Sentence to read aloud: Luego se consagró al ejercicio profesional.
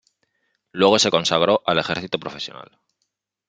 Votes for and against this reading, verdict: 1, 2, rejected